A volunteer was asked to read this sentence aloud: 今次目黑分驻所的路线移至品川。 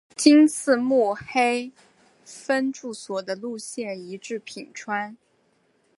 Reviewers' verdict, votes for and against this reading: accepted, 5, 0